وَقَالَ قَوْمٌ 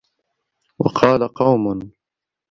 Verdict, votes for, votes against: accepted, 2, 0